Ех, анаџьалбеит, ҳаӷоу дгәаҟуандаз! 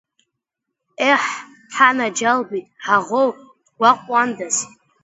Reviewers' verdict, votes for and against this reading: rejected, 1, 2